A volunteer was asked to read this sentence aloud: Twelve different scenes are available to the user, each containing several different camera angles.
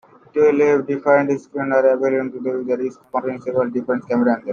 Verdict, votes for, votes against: rejected, 0, 2